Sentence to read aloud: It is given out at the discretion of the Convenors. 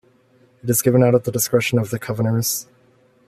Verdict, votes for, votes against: rejected, 1, 2